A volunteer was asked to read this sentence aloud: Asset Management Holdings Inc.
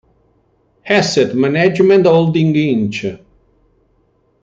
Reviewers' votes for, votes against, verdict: 2, 0, accepted